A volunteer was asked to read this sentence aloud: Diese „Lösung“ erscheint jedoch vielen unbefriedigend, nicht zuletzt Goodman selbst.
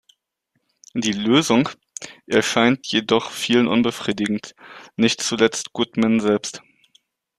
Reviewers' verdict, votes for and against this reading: rejected, 1, 2